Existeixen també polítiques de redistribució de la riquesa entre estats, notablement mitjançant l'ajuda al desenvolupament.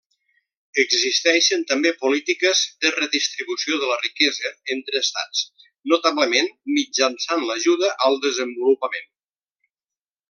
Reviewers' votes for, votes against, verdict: 3, 0, accepted